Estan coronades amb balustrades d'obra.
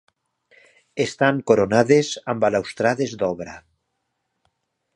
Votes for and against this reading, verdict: 1, 2, rejected